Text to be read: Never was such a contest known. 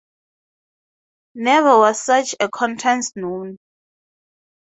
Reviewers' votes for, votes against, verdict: 2, 0, accepted